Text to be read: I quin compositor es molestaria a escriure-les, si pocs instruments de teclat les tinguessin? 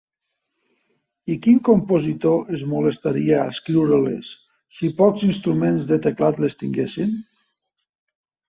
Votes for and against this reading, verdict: 2, 0, accepted